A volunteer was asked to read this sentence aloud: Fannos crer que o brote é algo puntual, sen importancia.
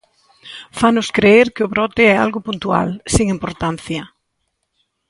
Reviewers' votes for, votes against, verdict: 1, 2, rejected